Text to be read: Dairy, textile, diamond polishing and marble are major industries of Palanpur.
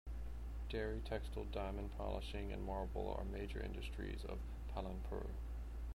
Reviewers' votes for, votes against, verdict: 0, 2, rejected